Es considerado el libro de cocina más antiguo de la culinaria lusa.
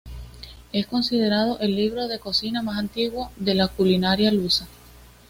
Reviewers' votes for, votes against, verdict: 2, 1, accepted